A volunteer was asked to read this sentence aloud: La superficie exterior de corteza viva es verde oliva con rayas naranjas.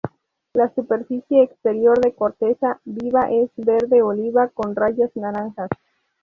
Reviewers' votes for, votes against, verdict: 2, 0, accepted